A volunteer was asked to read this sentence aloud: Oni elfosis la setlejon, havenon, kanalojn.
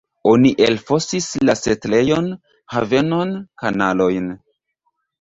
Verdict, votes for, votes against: rejected, 1, 2